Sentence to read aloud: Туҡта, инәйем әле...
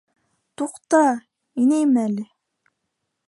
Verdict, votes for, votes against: accepted, 2, 0